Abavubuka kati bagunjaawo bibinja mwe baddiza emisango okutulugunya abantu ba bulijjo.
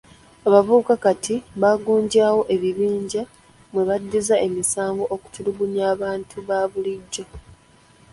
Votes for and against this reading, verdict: 2, 0, accepted